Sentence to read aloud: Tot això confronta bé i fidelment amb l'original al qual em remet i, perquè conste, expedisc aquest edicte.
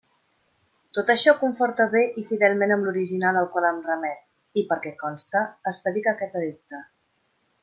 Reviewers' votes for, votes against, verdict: 1, 2, rejected